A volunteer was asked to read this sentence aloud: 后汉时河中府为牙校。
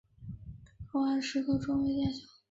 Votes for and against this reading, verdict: 0, 4, rejected